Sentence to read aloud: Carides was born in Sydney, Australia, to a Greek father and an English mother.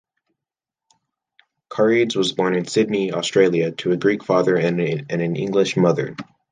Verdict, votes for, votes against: accepted, 2, 1